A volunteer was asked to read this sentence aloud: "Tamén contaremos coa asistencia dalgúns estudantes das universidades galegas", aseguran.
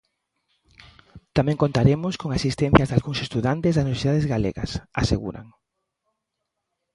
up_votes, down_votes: 0, 2